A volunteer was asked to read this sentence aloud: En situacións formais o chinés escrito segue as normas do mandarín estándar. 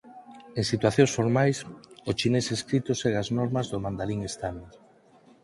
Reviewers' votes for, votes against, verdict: 6, 0, accepted